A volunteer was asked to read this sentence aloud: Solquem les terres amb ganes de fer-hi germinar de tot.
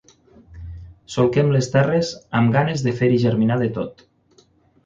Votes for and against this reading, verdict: 9, 0, accepted